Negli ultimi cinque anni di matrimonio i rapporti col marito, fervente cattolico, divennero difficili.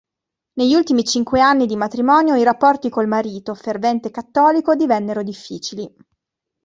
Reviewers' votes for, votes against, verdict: 2, 0, accepted